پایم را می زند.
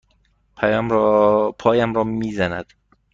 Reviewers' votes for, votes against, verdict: 1, 2, rejected